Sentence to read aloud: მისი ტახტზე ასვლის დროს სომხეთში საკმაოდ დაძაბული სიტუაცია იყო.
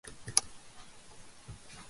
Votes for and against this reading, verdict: 0, 2, rejected